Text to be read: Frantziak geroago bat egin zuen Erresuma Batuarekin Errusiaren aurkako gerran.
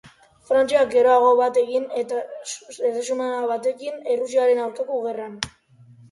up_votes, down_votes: 1, 3